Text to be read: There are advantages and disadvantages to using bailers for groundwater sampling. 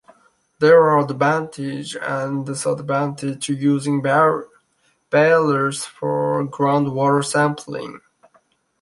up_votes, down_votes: 0, 2